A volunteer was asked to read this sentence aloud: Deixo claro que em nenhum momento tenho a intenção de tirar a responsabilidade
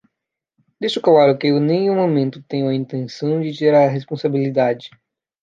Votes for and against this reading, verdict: 2, 0, accepted